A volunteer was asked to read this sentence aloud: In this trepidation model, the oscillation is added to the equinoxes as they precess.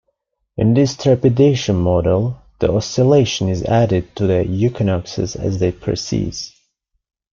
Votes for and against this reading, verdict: 2, 1, accepted